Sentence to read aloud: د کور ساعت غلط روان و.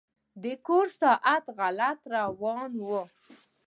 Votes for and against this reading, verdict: 1, 2, rejected